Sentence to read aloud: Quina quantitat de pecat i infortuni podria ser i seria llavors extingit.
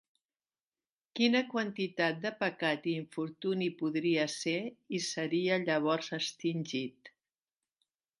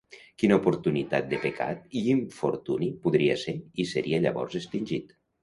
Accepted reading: first